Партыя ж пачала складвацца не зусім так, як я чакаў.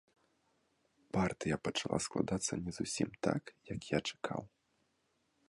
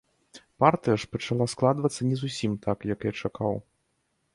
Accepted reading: second